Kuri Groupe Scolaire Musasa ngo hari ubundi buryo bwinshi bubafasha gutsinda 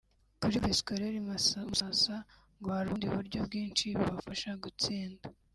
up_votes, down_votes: 2, 3